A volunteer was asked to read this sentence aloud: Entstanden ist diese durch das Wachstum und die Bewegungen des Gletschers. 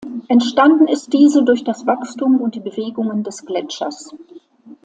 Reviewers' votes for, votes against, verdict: 2, 0, accepted